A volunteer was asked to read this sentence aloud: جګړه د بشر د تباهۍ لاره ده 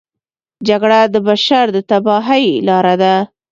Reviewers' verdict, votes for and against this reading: accepted, 2, 0